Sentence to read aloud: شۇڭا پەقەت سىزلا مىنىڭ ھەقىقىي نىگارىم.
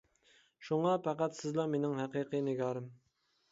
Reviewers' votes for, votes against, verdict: 2, 0, accepted